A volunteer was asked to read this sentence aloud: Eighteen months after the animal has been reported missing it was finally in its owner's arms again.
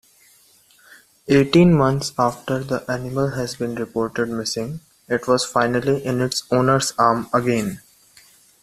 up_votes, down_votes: 1, 2